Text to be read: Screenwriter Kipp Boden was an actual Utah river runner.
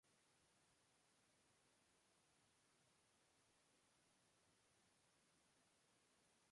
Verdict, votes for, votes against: rejected, 0, 2